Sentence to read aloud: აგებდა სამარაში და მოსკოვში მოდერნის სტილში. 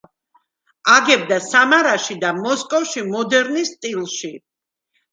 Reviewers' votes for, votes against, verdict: 2, 0, accepted